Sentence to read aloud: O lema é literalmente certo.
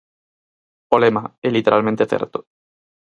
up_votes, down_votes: 4, 0